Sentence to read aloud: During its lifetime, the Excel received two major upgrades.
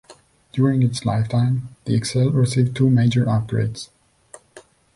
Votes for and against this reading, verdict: 2, 0, accepted